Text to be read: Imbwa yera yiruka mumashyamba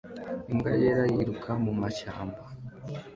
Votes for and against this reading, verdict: 2, 0, accepted